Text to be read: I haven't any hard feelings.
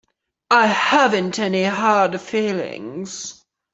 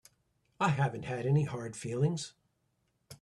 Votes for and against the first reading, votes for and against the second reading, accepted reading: 3, 0, 0, 2, first